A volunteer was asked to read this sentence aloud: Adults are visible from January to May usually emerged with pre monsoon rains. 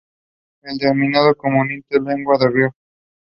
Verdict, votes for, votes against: rejected, 0, 2